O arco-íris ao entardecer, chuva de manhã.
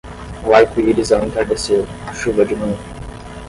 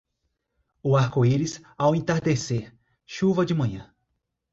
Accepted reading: second